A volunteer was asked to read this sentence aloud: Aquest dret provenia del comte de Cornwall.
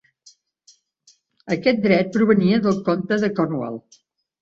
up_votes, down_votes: 2, 0